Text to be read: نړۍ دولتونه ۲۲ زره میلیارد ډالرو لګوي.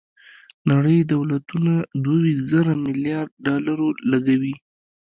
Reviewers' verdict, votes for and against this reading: rejected, 0, 2